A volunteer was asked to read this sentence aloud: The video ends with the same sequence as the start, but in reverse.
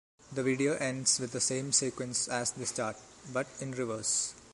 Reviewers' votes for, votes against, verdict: 2, 0, accepted